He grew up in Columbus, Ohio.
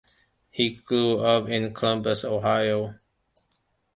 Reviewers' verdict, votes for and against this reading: accepted, 2, 0